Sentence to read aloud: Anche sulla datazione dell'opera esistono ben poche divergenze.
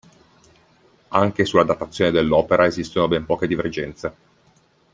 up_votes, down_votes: 2, 0